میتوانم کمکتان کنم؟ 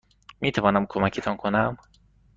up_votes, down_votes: 2, 0